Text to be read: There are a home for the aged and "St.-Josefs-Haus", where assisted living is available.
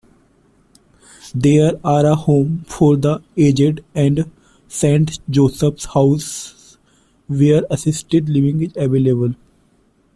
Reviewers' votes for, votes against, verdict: 2, 1, accepted